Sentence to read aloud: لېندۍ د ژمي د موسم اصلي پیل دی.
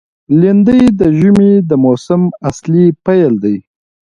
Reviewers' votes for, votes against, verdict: 2, 1, accepted